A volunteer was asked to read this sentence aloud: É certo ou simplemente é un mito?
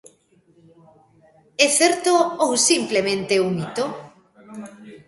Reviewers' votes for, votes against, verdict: 2, 0, accepted